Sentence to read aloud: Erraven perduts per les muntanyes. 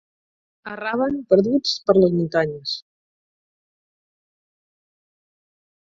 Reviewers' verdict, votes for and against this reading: rejected, 2, 4